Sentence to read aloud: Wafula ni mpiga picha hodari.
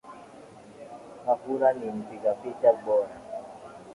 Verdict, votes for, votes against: rejected, 0, 2